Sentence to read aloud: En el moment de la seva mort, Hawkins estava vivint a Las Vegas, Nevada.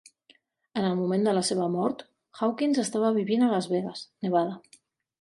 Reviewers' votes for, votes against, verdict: 3, 0, accepted